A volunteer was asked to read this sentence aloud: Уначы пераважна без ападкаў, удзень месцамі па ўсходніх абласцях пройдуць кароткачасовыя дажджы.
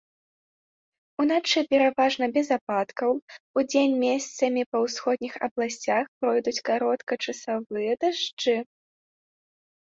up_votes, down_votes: 0, 2